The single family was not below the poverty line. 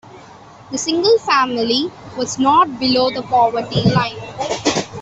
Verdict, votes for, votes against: accepted, 2, 1